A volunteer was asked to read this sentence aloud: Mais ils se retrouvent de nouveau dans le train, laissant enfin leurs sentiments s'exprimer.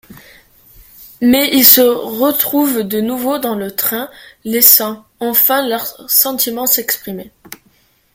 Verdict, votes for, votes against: accepted, 2, 1